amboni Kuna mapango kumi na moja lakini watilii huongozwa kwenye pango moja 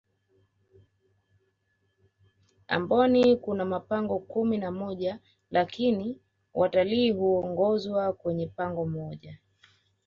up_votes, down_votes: 2, 0